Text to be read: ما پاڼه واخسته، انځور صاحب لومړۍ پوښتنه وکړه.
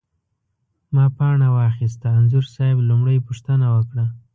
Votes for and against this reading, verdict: 2, 0, accepted